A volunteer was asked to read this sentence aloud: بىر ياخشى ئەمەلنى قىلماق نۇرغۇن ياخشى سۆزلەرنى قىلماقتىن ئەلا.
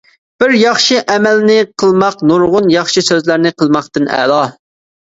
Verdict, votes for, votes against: accepted, 2, 0